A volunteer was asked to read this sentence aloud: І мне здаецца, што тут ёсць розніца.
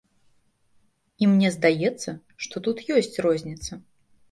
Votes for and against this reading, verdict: 2, 0, accepted